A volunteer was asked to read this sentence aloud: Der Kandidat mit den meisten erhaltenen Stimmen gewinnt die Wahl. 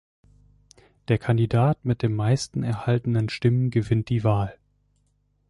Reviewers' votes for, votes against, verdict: 2, 0, accepted